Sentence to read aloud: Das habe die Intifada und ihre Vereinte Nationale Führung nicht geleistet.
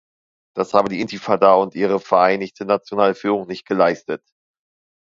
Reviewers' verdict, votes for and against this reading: rejected, 1, 2